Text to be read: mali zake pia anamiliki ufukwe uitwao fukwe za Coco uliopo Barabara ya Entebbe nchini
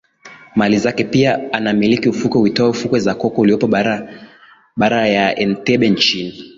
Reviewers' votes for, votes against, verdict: 0, 2, rejected